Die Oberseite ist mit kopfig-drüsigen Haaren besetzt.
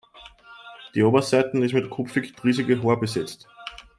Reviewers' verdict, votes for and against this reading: rejected, 1, 2